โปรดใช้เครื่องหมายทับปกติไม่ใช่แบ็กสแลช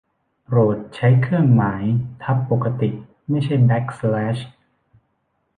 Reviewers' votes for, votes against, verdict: 2, 0, accepted